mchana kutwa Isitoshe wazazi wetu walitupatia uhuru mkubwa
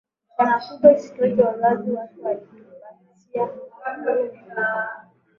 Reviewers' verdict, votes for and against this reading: rejected, 3, 5